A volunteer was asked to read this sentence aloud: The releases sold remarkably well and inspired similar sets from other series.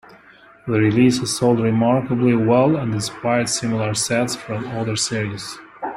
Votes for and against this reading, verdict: 2, 0, accepted